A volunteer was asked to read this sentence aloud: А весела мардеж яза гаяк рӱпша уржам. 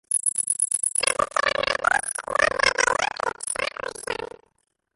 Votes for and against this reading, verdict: 0, 2, rejected